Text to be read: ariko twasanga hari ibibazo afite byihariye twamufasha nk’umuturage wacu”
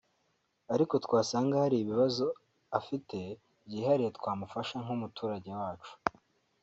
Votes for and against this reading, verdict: 2, 0, accepted